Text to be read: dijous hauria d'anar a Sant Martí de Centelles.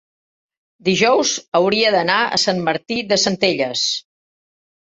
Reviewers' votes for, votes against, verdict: 3, 0, accepted